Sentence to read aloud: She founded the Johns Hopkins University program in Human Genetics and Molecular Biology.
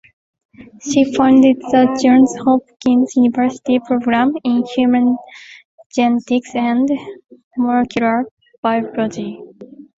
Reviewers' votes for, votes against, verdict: 2, 1, accepted